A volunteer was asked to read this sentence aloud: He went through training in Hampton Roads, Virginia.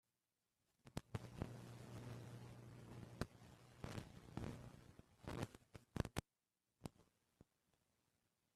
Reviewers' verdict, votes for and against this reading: rejected, 0, 2